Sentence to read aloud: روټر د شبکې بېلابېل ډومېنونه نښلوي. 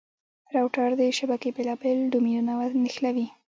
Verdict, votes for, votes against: accepted, 2, 1